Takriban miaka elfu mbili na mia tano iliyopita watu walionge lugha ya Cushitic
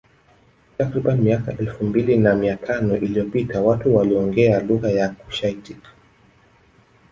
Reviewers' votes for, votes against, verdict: 1, 2, rejected